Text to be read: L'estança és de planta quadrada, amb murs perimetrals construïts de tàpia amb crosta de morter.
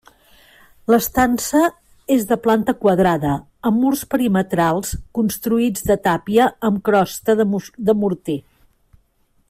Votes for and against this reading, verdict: 0, 2, rejected